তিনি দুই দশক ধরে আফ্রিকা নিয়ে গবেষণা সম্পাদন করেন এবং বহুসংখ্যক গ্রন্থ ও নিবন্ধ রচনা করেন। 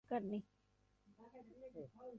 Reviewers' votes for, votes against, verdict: 0, 2, rejected